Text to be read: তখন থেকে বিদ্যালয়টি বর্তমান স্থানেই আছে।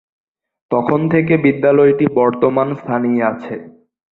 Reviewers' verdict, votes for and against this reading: accepted, 3, 0